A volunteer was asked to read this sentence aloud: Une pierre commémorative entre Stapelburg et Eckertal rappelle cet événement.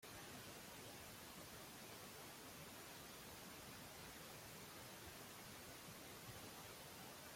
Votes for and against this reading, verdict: 0, 2, rejected